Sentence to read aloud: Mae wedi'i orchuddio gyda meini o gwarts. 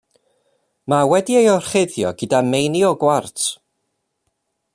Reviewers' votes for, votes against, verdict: 2, 1, accepted